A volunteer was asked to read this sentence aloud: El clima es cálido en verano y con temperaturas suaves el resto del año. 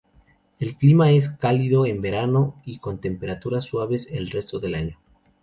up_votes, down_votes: 2, 0